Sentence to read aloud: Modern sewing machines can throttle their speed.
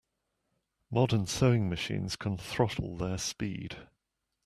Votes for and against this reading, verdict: 2, 0, accepted